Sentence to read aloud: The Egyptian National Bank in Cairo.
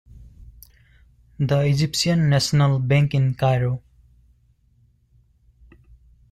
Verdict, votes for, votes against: accepted, 2, 0